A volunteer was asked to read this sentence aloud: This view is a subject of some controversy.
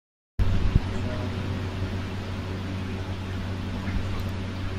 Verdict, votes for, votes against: rejected, 0, 2